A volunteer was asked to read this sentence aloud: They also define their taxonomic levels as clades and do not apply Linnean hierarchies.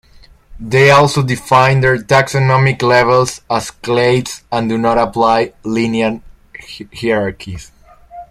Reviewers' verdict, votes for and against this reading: rejected, 0, 2